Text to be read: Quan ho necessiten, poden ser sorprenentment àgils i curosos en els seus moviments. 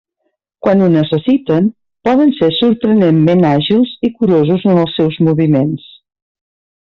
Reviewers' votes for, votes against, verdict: 3, 0, accepted